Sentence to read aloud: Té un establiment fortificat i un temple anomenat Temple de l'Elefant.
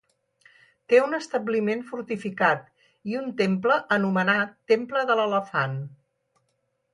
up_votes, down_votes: 4, 0